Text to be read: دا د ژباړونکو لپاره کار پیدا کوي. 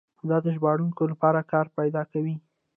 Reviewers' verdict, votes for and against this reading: accepted, 2, 0